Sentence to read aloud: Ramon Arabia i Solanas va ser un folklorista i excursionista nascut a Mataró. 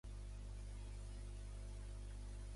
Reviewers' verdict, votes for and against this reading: rejected, 1, 2